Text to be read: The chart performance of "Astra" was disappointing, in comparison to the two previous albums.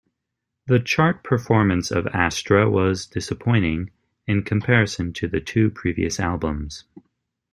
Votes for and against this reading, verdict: 2, 0, accepted